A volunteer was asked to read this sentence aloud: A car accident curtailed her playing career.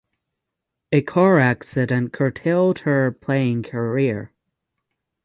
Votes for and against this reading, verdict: 0, 6, rejected